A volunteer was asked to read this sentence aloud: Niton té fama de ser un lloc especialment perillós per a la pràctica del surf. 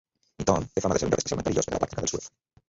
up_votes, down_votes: 0, 2